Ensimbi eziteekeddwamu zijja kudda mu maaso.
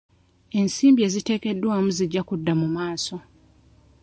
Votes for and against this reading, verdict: 1, 2, rejected